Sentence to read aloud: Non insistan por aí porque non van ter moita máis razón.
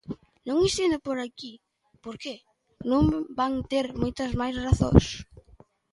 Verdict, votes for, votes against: rejected, 0, 3